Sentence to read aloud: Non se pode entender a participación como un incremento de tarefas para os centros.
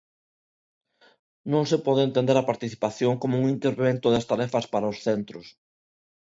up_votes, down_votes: 0, 2